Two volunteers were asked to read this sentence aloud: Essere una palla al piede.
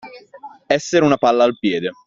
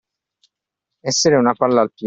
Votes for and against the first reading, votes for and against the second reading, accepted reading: 2, 0, 0, 2, first